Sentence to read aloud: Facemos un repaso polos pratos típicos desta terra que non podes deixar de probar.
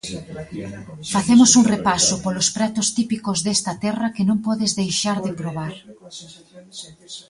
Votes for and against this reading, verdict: 0, 2, rejected